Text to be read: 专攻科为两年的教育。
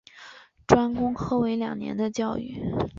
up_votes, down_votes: 2, 0